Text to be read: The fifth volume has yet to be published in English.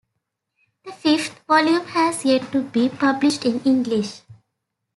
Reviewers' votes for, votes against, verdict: 2, 0, accepted